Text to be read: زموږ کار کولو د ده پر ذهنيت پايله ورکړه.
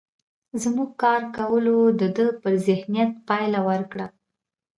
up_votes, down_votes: 2, 3